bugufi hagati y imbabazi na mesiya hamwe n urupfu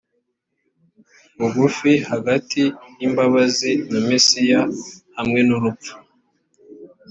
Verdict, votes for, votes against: accepted, 2, 0